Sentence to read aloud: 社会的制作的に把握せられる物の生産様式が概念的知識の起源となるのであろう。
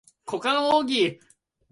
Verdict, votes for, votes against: rejected, 2, 10